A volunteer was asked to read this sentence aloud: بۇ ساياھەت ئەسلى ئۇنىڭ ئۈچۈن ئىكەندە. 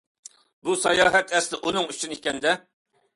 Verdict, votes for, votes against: accepted, 2, 0